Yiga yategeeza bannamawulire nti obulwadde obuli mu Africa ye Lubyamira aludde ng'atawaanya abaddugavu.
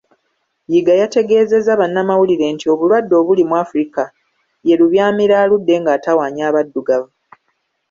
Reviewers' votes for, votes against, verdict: 1, 2, rejected